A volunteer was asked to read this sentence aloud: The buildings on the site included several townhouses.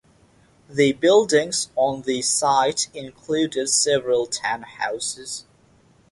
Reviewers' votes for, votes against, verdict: 6, 0, accepted